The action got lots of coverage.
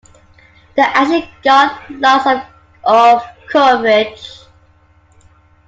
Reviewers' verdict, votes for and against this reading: rejected, 0, 2